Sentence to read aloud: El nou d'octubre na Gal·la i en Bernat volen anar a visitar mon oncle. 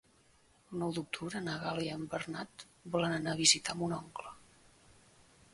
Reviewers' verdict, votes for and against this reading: accepted, 2, 1